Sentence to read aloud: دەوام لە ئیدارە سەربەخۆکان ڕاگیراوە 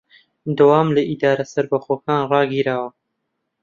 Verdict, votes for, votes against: accepted, 2, 1